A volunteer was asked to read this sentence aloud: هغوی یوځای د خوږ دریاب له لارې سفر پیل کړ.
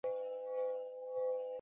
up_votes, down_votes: 1, 2